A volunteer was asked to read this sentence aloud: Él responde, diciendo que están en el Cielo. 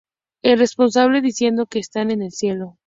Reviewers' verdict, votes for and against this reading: rejected, 0, 4